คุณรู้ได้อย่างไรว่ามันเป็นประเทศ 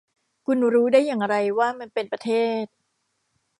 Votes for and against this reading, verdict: 2, 0, accepted